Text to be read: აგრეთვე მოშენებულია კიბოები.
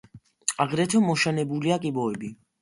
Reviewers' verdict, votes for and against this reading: accepted, 2, 0